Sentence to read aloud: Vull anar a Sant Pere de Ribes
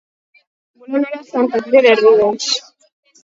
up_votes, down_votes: 0, 4